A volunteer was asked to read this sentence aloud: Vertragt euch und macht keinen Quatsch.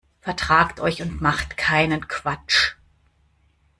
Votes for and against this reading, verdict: 2, 0, accepted